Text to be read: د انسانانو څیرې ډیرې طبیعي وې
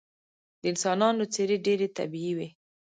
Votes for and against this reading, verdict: 1, 2, rejected